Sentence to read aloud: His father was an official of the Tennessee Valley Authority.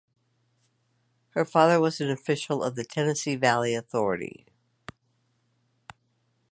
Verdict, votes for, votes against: rejected, 0, 2